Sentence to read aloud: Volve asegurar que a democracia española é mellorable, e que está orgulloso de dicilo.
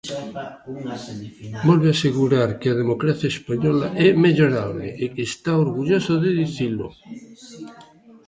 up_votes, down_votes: 0, 2